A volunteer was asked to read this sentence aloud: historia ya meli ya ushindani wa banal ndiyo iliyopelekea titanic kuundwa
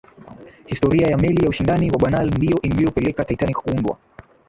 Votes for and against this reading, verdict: 6, 5, accepted